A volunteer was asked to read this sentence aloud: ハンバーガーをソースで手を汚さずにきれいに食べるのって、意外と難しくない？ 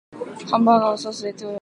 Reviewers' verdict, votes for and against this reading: rejected, 0, 2